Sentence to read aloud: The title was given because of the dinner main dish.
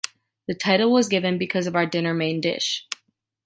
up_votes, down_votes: 0, 2